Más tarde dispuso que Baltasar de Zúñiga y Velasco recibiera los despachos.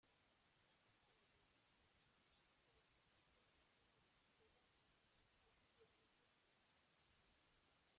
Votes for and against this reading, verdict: 0, 2, rejected